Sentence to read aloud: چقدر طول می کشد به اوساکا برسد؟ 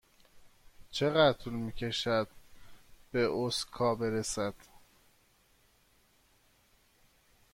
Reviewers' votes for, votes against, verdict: 1, 2, rejected